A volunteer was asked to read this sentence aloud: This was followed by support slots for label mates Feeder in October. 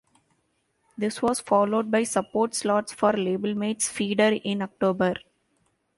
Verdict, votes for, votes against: accepted, 2, 0